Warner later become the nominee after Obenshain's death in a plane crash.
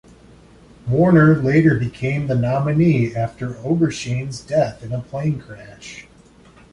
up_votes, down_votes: 0, 2